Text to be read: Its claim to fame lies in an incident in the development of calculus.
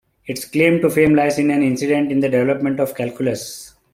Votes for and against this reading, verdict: 2, 1, accepted